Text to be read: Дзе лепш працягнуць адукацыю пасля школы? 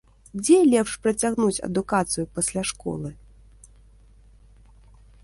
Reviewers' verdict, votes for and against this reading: accepted, 2, 0